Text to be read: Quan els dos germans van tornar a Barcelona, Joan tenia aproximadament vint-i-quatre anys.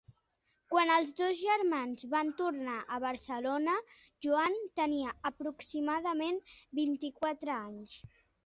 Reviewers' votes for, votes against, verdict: 2, 0, accepted